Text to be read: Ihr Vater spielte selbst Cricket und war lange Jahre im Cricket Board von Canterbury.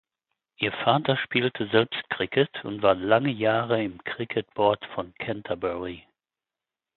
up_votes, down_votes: 4, 0